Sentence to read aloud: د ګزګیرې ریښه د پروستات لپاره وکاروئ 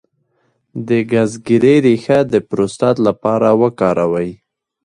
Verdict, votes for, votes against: rejected, 0, 2